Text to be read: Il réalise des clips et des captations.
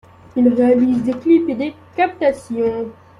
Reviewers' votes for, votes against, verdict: 2, 0, accepted